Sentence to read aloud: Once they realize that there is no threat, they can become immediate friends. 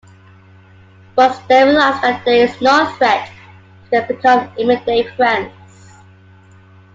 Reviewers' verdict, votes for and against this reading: accepted, 2, 1